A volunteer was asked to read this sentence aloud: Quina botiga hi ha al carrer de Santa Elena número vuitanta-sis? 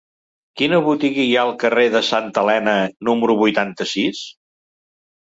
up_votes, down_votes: 3, 0